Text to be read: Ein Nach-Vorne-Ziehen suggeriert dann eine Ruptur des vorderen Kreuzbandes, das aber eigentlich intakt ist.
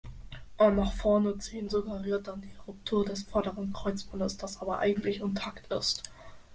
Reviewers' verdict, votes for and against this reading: accepted, 2, 0